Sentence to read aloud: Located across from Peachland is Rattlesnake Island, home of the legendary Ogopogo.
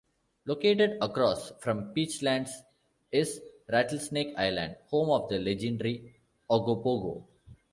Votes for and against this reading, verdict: 0, 2, rejected